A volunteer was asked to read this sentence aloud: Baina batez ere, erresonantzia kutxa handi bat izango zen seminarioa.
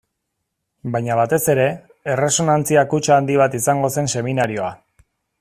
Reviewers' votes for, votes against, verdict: 2, 0, accepted